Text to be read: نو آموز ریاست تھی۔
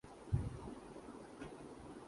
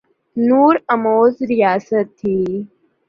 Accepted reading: second